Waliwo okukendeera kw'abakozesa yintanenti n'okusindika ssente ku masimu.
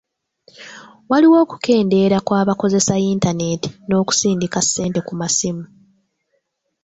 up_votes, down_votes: 1, 2